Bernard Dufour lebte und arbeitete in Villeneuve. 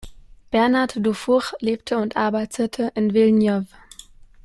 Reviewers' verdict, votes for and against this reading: rejected, 1, 2